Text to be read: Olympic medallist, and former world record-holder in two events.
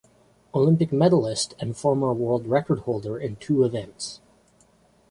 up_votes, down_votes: 0, 2